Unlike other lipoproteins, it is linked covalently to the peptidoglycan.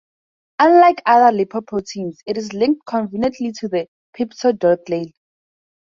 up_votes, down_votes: 0, 2